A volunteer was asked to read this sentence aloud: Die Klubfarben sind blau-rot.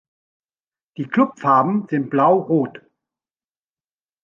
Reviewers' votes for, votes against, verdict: 2, 0, accepted